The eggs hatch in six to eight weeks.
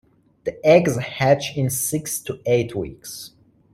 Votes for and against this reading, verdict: 3, 1, accepted